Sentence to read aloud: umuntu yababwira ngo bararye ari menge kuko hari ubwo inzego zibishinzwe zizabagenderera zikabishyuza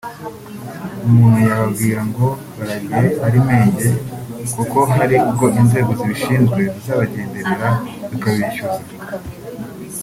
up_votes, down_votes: 1, 2